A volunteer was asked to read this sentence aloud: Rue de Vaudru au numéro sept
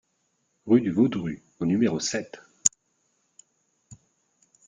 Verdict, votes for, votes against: rejected, 0, 2